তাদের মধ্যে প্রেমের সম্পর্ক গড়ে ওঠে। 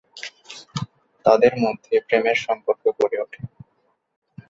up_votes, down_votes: 2, 2